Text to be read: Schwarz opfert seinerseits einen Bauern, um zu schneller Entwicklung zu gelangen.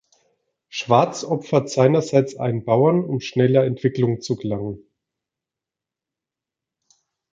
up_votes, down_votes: 0, 2